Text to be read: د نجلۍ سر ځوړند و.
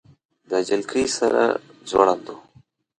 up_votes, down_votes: 1, 2